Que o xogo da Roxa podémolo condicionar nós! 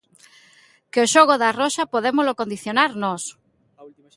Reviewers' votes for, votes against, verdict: 2, 1, accepted